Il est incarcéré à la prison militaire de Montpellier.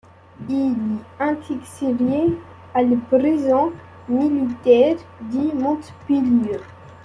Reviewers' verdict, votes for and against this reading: rejected, 0, 2